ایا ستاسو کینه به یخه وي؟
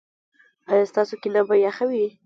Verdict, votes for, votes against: accepted, 2, 0